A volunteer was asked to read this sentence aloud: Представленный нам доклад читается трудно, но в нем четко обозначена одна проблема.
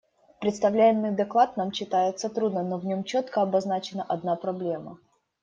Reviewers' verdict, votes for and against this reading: rejected, 0, 2